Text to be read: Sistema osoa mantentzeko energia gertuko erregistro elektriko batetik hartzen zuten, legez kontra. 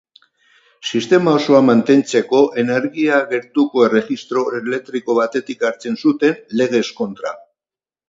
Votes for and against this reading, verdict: 4, 0, accepted